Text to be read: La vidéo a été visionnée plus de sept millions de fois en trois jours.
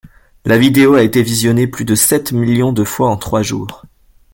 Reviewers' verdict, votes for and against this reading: accepted, 2, 0